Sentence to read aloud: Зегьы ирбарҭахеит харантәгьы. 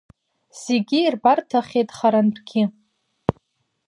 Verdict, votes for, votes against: accepted, 2, 1